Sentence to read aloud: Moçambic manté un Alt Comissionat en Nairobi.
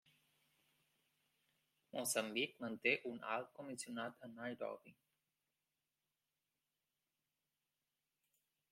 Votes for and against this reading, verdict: 1, 2, rejected